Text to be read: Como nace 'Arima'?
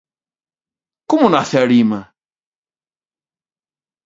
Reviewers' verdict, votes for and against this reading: accepted, 2, 0